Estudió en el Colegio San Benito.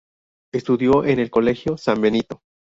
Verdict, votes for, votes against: rejected, 0, 2